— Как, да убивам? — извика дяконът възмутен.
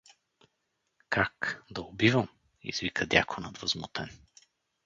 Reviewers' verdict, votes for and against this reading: rejected, 2, 2